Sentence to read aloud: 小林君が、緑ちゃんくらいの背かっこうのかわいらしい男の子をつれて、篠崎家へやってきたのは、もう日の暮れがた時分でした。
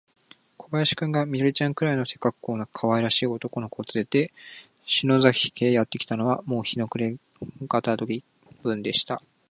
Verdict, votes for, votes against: rejected, 0, 2